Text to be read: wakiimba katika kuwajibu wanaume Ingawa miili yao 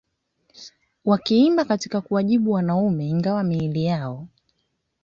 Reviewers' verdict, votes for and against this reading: rejected, 1, 2